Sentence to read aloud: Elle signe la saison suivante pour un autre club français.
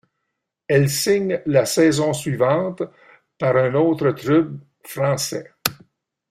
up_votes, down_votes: 1, 2